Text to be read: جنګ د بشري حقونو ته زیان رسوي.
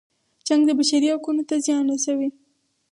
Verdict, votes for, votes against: rejected, 2, 4